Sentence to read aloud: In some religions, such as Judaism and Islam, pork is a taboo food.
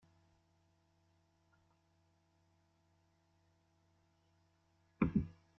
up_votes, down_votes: 0, 2